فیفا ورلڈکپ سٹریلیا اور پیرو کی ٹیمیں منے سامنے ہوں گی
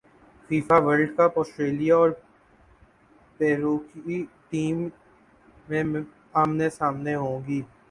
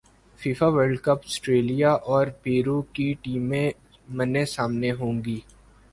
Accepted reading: second